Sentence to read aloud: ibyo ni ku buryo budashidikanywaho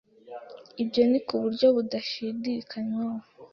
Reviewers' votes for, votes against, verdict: 2, 0, accepted